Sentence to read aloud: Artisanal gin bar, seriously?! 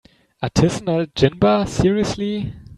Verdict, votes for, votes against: rejected, 1, 2